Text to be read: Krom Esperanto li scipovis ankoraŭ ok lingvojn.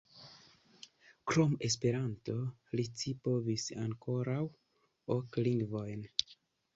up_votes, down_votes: 2, 0